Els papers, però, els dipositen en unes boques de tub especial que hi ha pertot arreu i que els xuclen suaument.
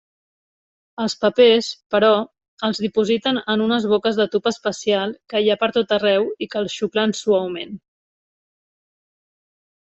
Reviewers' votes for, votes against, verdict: 3, 0, accepted